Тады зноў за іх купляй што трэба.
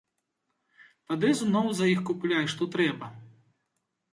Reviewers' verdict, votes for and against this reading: accepted, 2, 0